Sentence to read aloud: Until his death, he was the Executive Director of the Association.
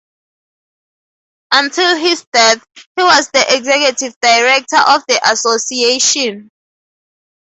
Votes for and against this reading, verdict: 0, 2, rejected